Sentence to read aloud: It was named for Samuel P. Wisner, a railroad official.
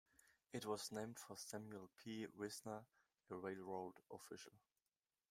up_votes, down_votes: 2, 1